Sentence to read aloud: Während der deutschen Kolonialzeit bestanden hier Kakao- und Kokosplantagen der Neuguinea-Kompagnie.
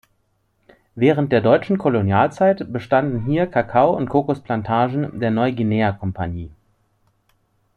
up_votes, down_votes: 2, 0